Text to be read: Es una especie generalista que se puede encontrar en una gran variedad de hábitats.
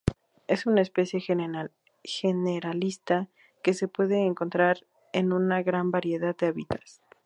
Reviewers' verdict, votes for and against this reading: rejected, 0, 2